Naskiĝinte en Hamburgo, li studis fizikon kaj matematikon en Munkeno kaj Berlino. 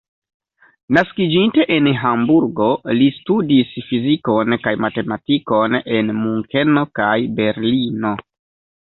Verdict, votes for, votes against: accepted, 2, 0